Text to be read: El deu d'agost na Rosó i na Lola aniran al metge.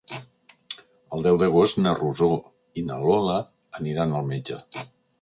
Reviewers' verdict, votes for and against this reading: accepted, 3, 0